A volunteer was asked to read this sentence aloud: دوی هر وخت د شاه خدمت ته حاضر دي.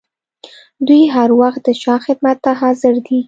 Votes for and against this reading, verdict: 2, 0, accepted